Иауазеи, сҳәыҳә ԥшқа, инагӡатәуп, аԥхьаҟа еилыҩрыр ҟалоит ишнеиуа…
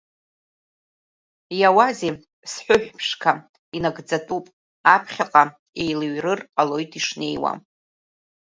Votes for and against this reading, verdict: 1, 2, rejected